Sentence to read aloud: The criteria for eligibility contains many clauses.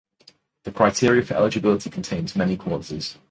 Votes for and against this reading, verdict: 2, 0, accepted